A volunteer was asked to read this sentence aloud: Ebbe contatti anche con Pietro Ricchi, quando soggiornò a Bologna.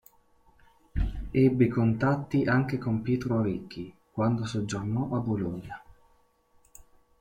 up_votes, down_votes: 0, 2